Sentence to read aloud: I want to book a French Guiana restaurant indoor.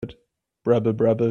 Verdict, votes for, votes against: rejected, 0, 2